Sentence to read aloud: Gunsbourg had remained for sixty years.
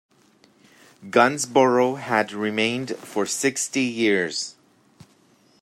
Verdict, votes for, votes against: rejected, 0, 2